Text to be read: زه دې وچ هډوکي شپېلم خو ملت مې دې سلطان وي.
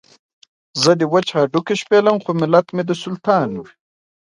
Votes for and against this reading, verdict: 0, 2, rejected